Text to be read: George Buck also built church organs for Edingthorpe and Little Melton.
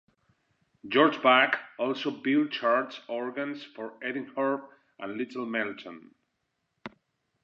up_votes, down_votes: 2, 0